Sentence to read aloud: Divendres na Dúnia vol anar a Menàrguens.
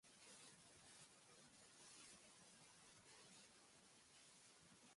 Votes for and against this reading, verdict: 0, 2, rejected